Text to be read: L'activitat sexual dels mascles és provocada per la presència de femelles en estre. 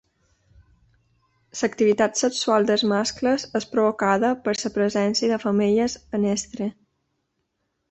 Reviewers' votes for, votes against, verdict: 0, 2, rejected